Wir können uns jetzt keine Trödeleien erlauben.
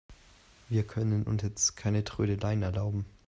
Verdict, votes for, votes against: rejected, 0, 2